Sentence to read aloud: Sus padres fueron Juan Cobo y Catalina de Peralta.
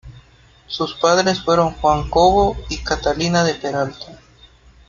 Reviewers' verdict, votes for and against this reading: accepted, 3, 0